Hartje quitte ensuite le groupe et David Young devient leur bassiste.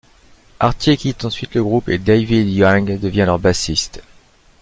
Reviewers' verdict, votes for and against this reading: rejected, 1, 2